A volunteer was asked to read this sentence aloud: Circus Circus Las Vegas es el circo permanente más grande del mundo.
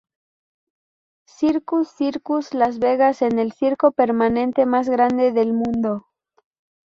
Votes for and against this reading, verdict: 0, 2, rejected